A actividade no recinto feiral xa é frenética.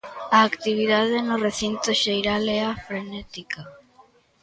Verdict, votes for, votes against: rejected, 0, 2